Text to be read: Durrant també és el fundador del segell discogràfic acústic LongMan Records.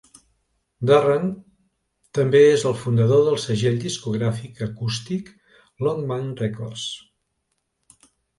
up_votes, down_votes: 2, 0